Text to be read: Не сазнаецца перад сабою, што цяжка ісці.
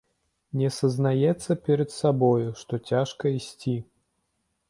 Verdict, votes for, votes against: accepted, 2, 0